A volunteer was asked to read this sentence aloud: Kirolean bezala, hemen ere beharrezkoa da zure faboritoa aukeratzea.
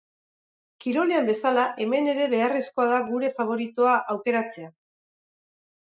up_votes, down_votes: 2, 4